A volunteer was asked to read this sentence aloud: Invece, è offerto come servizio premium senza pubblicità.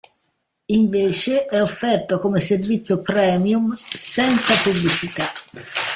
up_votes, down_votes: 2, 1